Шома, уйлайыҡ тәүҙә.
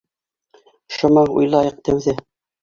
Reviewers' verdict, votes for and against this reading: accepted, 2, 0